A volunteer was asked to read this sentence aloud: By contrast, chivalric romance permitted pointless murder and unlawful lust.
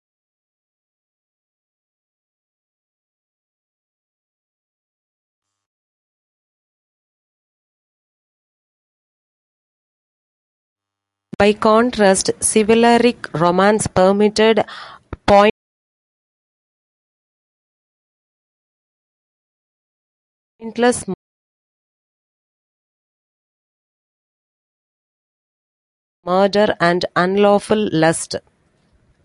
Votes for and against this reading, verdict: 0, 2, rejected